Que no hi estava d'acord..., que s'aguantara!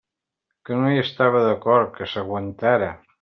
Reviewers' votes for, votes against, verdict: 3, 0, accepted